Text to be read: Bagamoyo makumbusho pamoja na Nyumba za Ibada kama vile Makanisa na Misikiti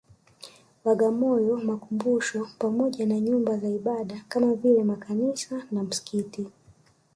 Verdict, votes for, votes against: accepted, 2, 0